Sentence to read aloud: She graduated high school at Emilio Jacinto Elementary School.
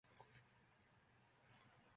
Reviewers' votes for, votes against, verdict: 0, 3, rejected